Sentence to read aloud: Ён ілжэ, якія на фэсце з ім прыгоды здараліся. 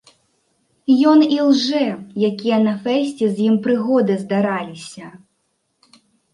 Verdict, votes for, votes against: accepted, 2, 0